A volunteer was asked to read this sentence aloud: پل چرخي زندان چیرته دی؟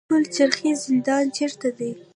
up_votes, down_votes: 1, 2